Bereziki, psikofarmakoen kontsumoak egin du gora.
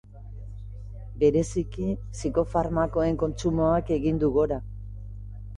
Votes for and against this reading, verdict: 3, 0, accepted